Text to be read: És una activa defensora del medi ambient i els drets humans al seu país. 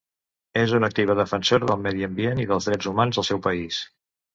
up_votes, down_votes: 1, 2